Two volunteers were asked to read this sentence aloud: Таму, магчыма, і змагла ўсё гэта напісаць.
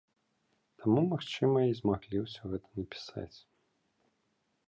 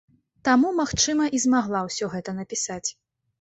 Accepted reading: second